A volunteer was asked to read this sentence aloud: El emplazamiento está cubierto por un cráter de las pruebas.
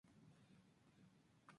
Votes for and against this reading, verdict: 0, 2, rejected